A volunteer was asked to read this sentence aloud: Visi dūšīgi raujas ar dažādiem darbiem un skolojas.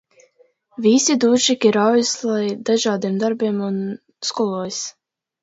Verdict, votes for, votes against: rejected, 1, 2